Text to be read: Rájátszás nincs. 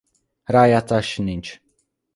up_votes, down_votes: 2, 1